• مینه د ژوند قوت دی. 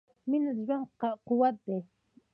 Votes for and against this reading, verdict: 2, 0, accepted